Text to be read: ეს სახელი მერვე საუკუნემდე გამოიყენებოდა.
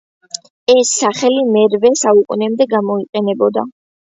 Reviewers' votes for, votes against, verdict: 2, 0, accepted